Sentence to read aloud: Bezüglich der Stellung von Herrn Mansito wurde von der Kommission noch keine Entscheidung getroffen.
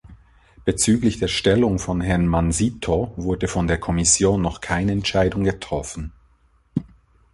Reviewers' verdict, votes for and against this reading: accepted, 2, 1